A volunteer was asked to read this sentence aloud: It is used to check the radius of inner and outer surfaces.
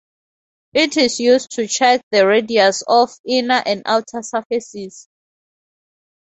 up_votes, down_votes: 16, 2